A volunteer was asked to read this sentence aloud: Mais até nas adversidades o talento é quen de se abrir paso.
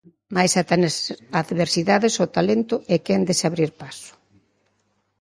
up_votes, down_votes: 1, 2